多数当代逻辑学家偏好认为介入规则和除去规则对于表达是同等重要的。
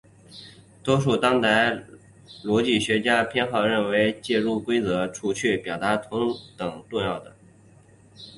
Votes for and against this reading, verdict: 2, 1, accepted